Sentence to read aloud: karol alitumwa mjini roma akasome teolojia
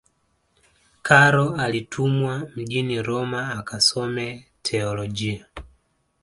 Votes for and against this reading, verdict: 1, 2, rejected